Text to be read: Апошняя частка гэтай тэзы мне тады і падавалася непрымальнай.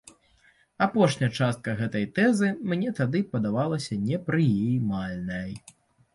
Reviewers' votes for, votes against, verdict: 1, 2, rejected